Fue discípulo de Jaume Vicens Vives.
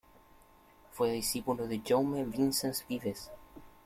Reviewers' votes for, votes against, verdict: 1, 2, rejected